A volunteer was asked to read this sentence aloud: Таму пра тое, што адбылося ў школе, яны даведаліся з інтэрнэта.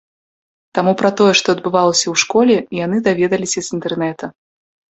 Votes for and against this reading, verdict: 0, 2, rejected